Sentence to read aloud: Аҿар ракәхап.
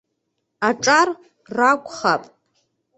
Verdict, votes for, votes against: accepted, 2, 0